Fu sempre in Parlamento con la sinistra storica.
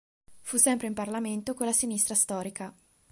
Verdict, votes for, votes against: accepted, 2, 0